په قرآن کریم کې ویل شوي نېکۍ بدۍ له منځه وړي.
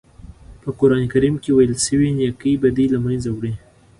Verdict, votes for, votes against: accepted, 2, 0